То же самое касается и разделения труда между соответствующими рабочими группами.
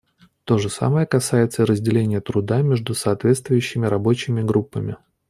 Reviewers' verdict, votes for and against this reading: accepted, 2, 0